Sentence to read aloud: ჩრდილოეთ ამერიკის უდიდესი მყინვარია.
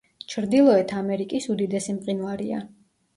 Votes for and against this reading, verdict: 2, 0, accepted